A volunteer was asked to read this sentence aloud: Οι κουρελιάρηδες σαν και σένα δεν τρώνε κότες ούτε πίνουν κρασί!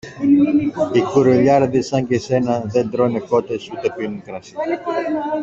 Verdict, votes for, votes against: rejected, 1, 2